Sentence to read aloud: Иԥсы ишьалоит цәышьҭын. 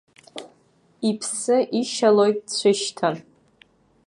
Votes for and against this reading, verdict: 0, 2, rejected